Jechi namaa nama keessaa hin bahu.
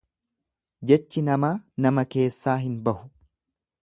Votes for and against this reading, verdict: 3, 0, accepted